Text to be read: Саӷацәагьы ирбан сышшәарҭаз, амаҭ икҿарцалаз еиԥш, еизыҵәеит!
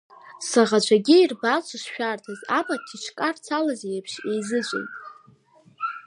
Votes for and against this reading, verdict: 2, 1, accepted